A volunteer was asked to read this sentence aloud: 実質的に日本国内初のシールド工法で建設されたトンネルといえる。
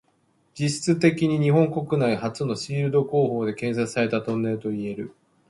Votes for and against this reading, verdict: 2, 1, accepted